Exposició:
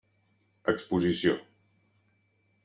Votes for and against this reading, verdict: 3, 0, accepted